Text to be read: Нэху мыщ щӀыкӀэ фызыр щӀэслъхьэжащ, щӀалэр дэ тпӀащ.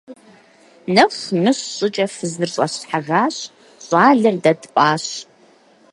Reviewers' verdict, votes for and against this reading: accepted, 6, 0